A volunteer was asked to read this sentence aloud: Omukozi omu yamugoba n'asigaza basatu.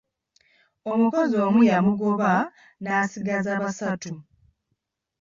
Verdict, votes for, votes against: rejected, 1, 2